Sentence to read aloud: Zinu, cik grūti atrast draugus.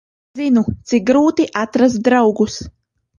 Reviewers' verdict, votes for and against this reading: rejected, 1, 2